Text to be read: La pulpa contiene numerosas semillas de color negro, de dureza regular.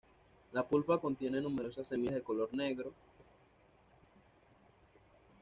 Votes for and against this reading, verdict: 1, 2, rejected